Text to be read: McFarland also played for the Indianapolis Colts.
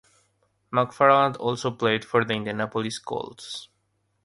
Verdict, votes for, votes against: accepted, 3, 0